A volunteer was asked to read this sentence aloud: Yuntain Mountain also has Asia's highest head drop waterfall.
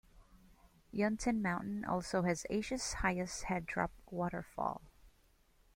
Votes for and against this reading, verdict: 2, 0, accepted